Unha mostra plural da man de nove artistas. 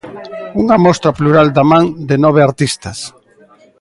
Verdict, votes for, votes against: accepted, 2, 0